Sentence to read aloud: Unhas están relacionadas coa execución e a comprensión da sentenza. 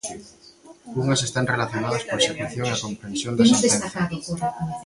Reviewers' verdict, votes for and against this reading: rejected, 0, 2